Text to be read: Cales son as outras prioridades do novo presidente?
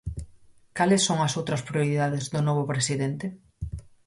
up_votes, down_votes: 4, 0